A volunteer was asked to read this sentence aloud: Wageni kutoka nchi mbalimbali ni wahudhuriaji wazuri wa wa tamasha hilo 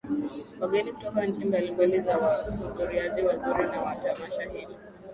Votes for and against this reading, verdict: 0, 2, rejected